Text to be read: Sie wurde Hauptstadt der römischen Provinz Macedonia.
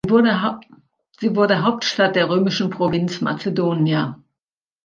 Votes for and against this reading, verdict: 0, 2, rejected